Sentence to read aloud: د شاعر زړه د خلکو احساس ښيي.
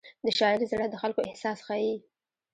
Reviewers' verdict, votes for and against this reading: accepted, 2, 0